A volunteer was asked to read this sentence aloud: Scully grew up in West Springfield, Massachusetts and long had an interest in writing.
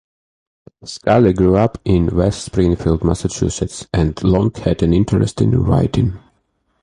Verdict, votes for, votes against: accepted, 2, 0